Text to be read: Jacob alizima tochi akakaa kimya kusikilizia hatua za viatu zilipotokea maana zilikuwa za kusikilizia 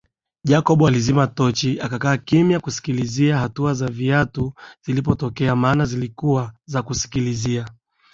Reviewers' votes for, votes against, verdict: 2, 0, accepted